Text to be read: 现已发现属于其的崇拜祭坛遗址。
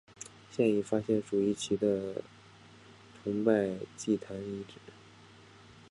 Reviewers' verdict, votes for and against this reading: rejected, 1, 2